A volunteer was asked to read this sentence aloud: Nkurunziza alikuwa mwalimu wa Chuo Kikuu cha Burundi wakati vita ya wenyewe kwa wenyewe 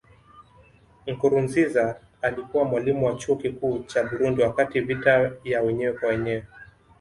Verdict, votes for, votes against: accepted, 2, 0